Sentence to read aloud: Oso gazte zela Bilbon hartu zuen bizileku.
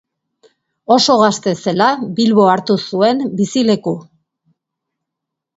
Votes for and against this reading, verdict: 0, 2, rejected